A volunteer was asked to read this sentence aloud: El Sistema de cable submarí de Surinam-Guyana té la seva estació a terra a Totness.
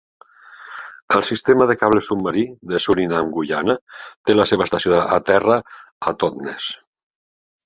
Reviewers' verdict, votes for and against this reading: accepted, 4, 0